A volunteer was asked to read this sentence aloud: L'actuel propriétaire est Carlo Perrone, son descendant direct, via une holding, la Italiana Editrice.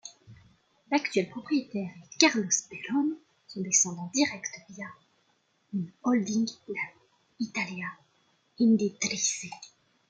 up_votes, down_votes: 0, 2